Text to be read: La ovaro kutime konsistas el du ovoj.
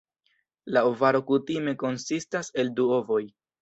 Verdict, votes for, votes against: rejected, 1, 2